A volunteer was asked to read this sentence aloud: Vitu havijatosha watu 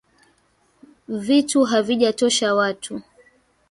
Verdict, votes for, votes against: accepted, 2, 1